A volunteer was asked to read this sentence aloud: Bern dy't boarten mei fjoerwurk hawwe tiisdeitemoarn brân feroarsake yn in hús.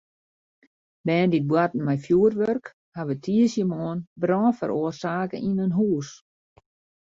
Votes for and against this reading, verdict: 0, 2, rejected